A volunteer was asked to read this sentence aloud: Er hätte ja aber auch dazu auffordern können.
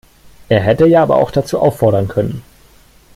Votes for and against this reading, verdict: 2, 0, accepted